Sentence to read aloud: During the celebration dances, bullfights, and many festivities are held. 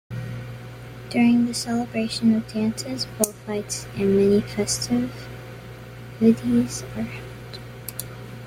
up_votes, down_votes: 0, 2